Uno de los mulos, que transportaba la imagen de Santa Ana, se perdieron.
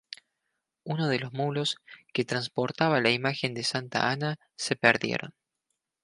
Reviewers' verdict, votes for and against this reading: accepted, 2, 0